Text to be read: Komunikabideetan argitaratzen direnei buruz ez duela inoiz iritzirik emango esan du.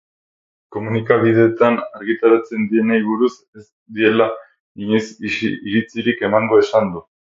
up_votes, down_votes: 4, 6